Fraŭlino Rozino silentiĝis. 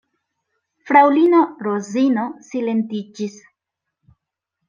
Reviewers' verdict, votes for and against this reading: accepted, 2, 0